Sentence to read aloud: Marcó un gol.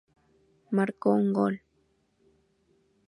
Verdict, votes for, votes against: rejected, 0, 2